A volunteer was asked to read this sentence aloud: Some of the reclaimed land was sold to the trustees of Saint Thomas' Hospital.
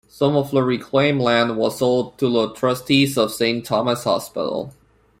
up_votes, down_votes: 2, 0